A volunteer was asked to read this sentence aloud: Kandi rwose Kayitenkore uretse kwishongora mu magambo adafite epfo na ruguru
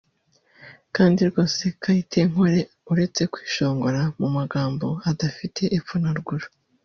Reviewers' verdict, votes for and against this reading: rejected, 0, 2